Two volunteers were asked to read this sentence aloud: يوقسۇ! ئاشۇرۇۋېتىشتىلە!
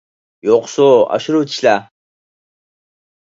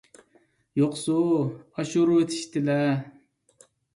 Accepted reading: second